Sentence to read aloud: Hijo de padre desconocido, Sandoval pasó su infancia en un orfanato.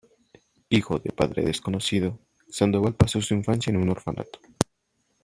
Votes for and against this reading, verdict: 1, 2, rejected